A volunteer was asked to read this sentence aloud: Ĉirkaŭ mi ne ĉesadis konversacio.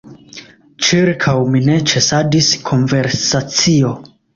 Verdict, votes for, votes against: accepted, 2, 0